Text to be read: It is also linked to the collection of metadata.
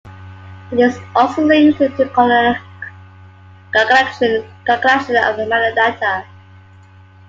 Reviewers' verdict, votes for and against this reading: rejected, 1, 2